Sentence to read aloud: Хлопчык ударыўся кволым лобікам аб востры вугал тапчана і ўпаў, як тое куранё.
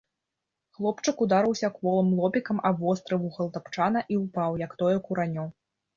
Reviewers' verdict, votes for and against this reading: accepted, 2, 0